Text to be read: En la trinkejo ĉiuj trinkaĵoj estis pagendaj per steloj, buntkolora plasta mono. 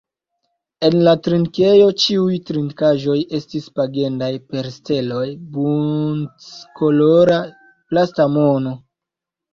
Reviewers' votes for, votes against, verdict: 0, 2, rejected